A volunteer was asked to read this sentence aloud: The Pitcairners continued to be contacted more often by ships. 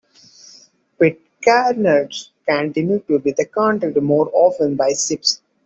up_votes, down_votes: 2, 1